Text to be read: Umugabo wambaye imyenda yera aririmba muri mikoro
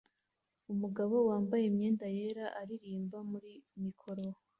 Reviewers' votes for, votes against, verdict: 2, 0, accepted